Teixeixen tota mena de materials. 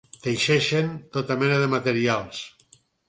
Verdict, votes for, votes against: accepted, 8, 0